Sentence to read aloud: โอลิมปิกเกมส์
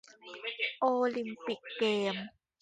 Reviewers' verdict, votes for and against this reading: rejected, 1, 3